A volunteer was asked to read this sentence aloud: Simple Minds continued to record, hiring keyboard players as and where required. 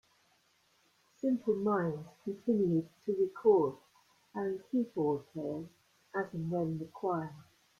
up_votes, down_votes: 0, 2